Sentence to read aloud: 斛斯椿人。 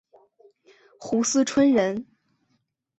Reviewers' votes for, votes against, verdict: 2, 0, accepted